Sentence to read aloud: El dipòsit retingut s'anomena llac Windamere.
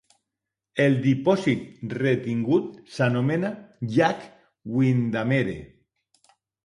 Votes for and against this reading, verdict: 2, 0, accepted